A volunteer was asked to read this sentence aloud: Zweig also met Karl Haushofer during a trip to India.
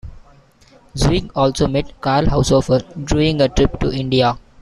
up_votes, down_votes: 1, 2